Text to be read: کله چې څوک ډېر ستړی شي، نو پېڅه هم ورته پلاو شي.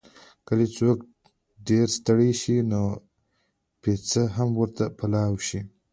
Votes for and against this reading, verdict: 2, 1, accepted